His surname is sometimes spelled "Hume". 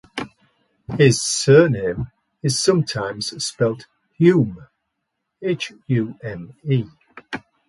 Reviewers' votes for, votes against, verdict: 0, 2, rejected